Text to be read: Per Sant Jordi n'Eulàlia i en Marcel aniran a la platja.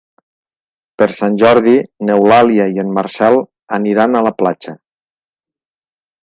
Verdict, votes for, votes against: accepted, 3, 0